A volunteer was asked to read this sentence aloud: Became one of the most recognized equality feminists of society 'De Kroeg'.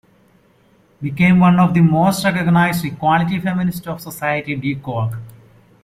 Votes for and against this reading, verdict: 2, 1, accepted